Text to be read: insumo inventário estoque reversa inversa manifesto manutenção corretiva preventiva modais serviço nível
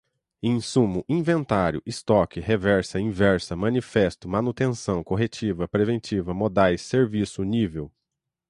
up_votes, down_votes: 0, 3